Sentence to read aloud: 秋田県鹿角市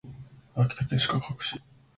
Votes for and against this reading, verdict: 1, 2, rejected